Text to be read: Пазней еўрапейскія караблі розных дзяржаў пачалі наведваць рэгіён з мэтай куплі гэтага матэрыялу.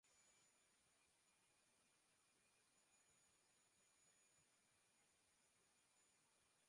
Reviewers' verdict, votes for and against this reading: rejected, 0, 2